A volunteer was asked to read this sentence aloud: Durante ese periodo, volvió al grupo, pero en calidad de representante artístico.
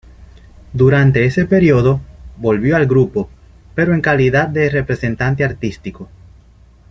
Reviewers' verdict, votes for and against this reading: accepted, 2, 0